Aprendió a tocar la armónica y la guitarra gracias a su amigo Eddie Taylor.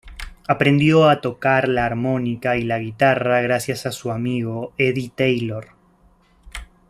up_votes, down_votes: 2, 0